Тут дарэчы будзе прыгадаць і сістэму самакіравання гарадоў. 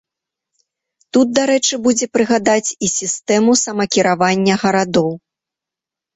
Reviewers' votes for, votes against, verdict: 2, 0, accepted